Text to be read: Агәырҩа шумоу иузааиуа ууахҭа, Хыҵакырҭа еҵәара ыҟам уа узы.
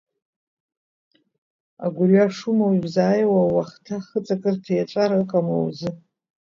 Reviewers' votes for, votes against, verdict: 2, 3, rejected